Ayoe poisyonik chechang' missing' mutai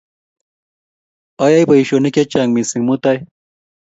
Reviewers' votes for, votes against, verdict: 3, 0, accepted